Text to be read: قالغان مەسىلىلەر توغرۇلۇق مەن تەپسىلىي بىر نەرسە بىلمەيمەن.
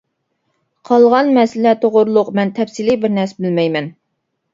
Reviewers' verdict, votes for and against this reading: rejected, 1, 2